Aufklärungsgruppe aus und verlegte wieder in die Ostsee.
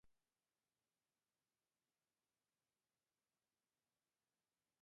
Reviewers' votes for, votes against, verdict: 0, 2, rejected